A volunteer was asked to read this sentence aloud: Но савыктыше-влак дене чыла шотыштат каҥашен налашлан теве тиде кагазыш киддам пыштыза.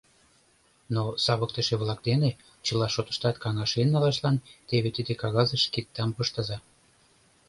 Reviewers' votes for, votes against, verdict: 2, 0, accepted